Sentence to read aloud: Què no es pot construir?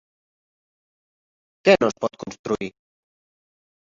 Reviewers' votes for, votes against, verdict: 0, 2, rejected